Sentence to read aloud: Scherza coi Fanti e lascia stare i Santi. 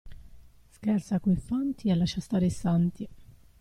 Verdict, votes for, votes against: rejected, 1, 2